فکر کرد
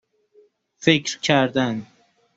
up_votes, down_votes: 0, 2